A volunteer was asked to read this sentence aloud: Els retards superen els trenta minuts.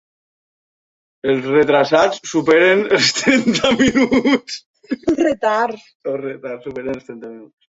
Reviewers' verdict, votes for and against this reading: rejected, 0, 2